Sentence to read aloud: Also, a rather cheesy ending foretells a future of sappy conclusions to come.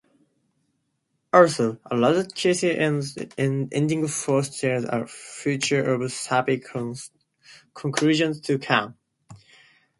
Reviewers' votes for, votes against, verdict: 0, 2, rejected